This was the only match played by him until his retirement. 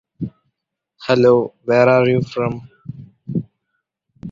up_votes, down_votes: 0, 2